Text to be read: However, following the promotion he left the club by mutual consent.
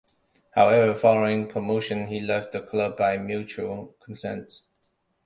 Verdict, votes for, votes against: accepted, 2, 1